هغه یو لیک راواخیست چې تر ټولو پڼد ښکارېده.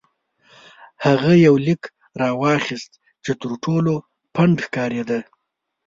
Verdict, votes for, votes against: accepted, 3, 0